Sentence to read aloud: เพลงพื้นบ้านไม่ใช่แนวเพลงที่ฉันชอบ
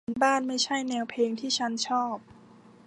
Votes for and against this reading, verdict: 0, 2, rejected